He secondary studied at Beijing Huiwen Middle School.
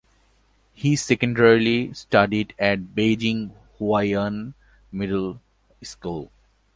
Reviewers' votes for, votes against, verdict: 0, 2, rejected